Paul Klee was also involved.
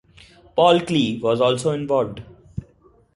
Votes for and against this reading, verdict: 0, 2, rejected